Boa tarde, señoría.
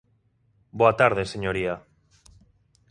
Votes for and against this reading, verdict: 2, 0, accepted